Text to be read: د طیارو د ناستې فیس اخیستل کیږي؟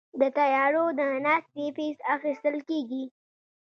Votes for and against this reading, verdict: 0, 2, rejected